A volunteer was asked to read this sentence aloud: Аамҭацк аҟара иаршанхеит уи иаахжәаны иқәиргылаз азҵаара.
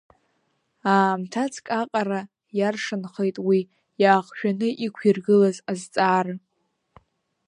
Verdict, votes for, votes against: accepted, 3, 0